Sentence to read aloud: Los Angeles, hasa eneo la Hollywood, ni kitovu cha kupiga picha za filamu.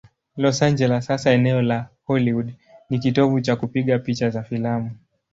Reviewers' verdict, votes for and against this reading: accepted, 2, 0